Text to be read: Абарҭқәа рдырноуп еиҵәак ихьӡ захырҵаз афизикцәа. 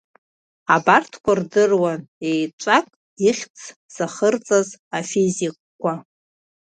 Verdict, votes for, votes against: rejected, 1, 2